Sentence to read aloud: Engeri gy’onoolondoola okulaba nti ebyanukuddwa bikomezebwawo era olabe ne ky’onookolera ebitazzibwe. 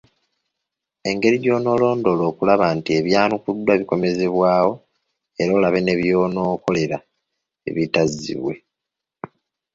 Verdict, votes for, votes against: rejected, 1, 2